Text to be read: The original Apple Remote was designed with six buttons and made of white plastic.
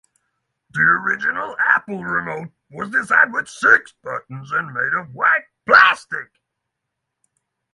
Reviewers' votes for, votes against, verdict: 0, 3, rejected